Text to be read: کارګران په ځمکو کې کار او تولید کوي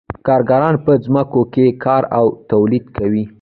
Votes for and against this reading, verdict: 0, 2, rejected